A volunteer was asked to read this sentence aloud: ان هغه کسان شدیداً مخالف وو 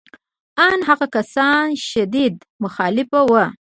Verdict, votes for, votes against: rejected, 0, 2